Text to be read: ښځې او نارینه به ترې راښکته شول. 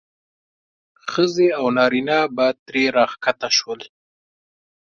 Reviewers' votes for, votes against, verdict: 2, 0, accepted